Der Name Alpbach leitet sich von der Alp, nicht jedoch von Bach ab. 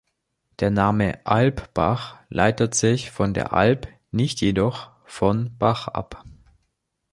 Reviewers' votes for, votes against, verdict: 2, 0, accepted